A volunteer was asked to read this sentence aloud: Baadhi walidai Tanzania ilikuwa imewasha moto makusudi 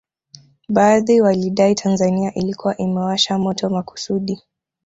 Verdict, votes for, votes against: rejected, 1, 2